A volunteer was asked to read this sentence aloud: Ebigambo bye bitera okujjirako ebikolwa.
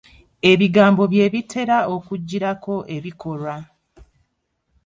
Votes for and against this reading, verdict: 0, 2, rejected